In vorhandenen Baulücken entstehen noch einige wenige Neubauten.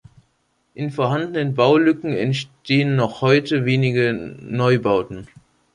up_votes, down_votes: 0, 2